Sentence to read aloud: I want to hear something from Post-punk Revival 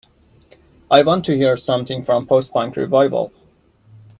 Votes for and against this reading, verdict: 2, 0, accepted